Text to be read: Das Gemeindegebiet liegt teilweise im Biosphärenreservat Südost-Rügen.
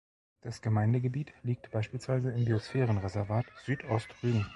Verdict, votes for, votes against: rejected, 0, 2